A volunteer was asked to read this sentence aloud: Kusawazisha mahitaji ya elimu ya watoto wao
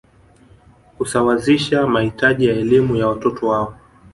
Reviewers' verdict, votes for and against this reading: accepted, 2, 0